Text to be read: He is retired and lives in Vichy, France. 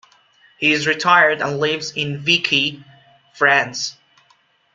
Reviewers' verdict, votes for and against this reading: rejected, 0, 2